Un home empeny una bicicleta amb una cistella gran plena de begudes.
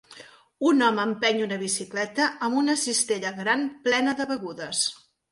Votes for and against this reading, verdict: 3, 0, accepted